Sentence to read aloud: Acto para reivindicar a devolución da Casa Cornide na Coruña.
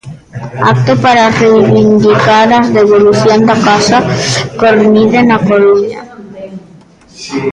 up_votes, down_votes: 1, 2